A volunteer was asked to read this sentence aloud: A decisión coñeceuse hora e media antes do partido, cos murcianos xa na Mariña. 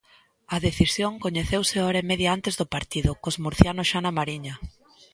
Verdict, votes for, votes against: accepted, 2, 0